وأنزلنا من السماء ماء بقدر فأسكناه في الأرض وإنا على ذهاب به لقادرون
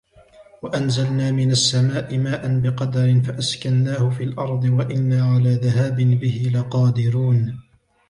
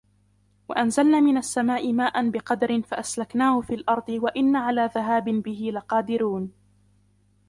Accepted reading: first